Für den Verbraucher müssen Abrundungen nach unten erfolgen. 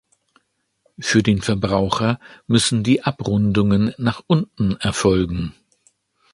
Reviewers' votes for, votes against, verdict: 0, 2, rejected